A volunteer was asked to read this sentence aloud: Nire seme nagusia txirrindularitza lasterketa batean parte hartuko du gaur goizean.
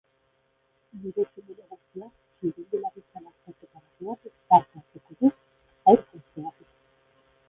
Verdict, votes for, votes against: rejected, 0, 3